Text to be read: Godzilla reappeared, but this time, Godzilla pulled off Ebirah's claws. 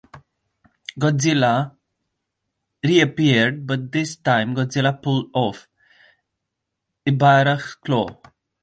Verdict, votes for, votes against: rejected, 1, 2